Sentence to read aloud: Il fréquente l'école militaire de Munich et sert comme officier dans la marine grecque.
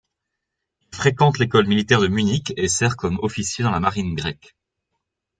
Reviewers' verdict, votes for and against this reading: rejected, 0, 2